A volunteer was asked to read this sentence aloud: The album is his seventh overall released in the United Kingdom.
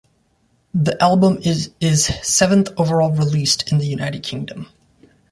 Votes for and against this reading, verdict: 2, 0, accepted